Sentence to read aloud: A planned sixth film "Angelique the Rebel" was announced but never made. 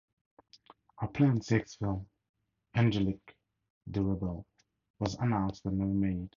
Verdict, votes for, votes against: rejected, 0, 2